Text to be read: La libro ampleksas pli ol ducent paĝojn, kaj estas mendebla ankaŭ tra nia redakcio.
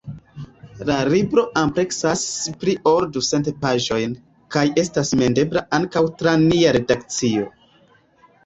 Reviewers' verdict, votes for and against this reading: rejected, 0, 2